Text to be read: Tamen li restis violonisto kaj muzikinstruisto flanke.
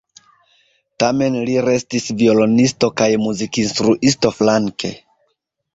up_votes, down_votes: 3, 0